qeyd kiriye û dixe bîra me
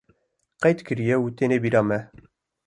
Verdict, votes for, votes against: rejected, 1, 2